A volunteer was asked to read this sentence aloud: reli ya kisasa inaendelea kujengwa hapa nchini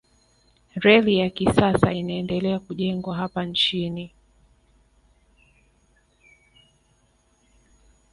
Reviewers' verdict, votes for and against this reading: rejected, 1, 2